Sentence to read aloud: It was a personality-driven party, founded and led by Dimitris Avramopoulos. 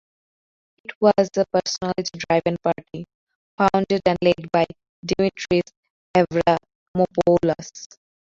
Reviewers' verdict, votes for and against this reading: rejected, 0, 3